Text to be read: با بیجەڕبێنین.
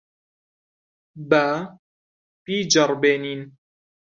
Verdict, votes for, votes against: accepted, 3, 1